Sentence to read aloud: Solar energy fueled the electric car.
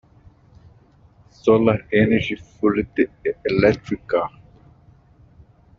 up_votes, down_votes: 0, 2